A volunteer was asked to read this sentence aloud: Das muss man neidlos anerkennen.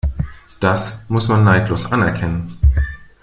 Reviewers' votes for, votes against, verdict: 2, 0, accepted